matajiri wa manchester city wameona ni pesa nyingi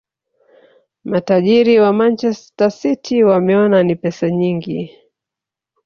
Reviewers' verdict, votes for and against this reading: accepted, 3, 2